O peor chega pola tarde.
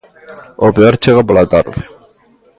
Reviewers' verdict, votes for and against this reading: accepted, 2, 1